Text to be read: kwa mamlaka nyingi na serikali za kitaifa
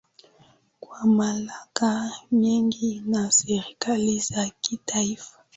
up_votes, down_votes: 2, 0